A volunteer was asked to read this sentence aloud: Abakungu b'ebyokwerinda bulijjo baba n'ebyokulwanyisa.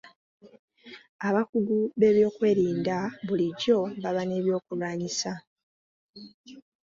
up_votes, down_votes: 0, 2